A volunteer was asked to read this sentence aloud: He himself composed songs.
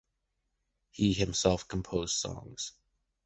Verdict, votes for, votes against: accepted, 2, 0